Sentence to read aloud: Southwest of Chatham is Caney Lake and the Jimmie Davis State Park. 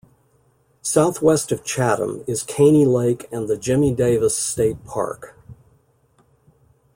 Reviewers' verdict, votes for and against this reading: accepted, 2, 0